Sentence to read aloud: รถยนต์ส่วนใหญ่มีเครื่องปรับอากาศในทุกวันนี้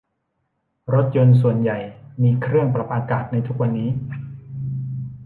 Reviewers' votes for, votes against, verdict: 1, 2, rejected